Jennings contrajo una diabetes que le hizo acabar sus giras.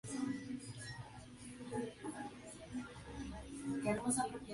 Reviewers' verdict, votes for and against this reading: rejected, 0, 2